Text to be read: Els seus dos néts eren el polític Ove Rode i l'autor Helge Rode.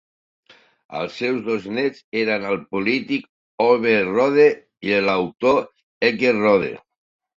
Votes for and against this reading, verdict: 2, 0, accepted